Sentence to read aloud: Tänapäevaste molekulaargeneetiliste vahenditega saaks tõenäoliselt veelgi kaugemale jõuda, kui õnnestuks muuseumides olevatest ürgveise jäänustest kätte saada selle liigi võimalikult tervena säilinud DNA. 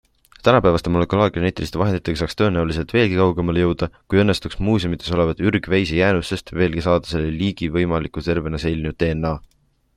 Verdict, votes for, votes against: rejected, 0, 2